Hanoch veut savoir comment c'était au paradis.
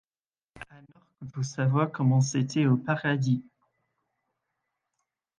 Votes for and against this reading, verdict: 0, 2, rejected